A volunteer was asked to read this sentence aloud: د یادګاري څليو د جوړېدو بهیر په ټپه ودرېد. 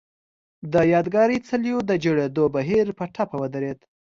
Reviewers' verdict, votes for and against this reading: accepted, 2, 0